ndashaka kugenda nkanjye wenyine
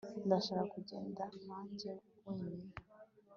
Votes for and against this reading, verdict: 2, 0, accepted